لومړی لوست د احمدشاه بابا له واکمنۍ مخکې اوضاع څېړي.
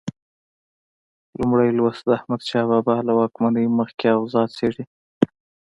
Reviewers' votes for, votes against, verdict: 2, 0, accepted